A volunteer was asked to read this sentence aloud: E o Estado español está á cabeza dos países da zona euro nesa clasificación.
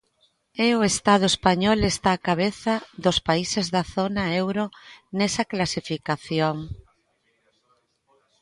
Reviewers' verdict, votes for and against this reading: rejected, 1, 2